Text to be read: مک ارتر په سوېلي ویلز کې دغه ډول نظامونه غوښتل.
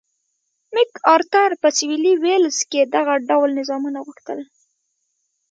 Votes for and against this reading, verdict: 3, 0, accepted